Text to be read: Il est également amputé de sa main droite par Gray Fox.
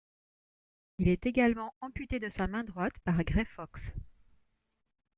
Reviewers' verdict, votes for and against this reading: accepted, 2, 0